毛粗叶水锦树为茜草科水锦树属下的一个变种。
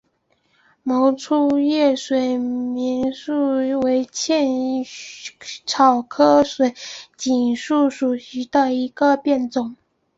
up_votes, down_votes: 5, 1